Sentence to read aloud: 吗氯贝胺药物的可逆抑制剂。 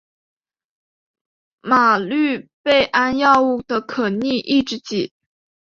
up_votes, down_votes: 2, 0